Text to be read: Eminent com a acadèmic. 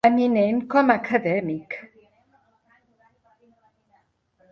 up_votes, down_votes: 2, 1